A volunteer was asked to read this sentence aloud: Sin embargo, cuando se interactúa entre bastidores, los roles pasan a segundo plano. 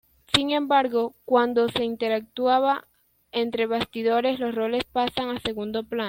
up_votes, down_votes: 0, 2